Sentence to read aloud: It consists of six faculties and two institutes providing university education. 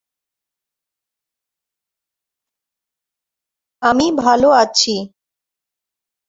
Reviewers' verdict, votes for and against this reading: rejected, 0, 2